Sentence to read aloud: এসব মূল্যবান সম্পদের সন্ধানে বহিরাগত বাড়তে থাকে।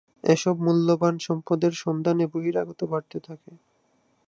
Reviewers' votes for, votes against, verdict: 6, 0, accepted